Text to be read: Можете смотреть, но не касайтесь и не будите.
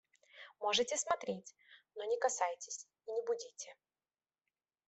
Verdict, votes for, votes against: accepted, 2, 0